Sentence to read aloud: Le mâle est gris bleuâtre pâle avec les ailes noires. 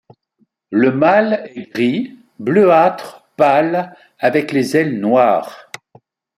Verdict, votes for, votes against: accepted, 2, 0